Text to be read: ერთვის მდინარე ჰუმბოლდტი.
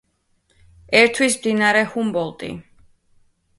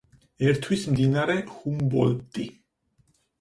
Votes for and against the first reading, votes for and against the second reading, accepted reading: 2, 1, 2, 4, first